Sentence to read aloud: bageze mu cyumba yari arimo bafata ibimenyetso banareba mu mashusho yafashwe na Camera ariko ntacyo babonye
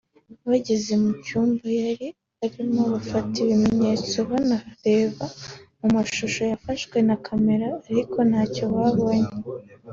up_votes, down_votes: 3, 0